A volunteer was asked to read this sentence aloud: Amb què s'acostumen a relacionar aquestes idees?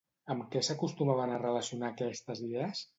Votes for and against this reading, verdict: 1, 2, rejected